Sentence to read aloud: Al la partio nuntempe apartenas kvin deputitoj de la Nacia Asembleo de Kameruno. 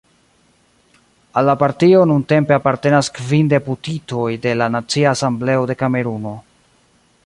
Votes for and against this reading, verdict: 1, 2, rejected